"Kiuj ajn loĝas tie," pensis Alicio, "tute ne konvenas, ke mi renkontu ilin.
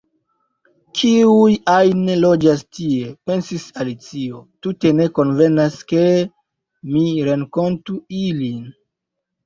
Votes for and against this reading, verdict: 2, 0, accepted